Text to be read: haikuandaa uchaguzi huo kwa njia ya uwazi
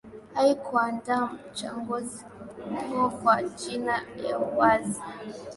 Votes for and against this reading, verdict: 2, 0, accepted